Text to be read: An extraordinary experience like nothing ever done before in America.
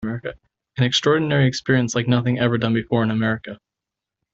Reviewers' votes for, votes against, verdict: 0, 2, rejected